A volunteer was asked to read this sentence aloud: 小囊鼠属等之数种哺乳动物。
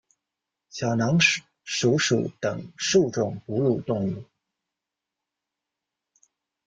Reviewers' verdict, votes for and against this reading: rejected, 1, 2